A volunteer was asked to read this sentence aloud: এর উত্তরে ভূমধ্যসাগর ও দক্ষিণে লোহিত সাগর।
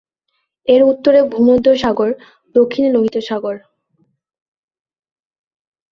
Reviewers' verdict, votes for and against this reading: rejected, 1, 2